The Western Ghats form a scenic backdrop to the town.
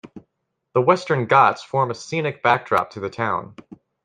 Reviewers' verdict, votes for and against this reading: accepted, 2, 0